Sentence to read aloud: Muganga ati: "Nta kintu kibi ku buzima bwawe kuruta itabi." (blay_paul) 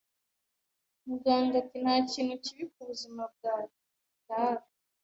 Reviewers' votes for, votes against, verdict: 1, 2, rejected